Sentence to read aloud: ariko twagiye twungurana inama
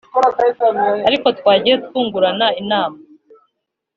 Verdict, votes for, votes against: accepted, 2, 0